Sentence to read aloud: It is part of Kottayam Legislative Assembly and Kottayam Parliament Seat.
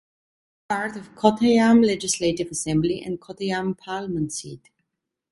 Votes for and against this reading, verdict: 1, 2, rejected